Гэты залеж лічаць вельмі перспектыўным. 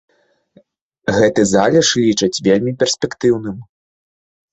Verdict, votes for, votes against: accepted, 2, 0